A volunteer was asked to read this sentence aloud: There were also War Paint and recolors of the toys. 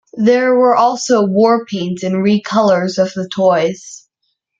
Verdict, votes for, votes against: rejected, 1, 2